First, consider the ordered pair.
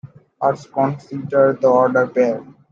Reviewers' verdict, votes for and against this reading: rejected, 1, 2